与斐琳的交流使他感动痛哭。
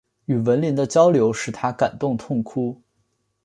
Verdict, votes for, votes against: accepted, 2, 1